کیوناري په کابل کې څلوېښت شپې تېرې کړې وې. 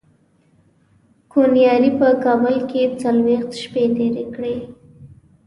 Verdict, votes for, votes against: rejected, 0, 2